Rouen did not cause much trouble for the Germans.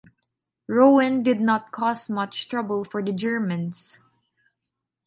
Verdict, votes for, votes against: accepted, 2, 1